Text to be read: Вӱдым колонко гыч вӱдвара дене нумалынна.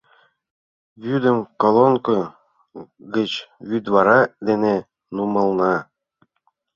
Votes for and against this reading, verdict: 0, 3, rejected